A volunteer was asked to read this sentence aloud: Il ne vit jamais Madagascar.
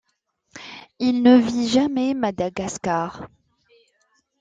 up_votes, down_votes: 2, 0